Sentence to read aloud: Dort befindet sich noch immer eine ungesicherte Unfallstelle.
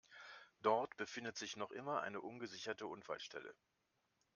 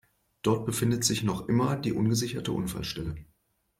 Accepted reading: first